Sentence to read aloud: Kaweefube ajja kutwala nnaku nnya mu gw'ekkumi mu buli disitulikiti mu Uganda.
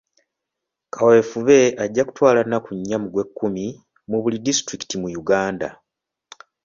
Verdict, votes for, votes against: accepted, 2, 0